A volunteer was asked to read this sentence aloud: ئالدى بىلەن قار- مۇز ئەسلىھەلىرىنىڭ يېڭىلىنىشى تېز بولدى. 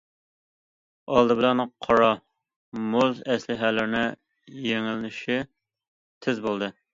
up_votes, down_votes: 0, 2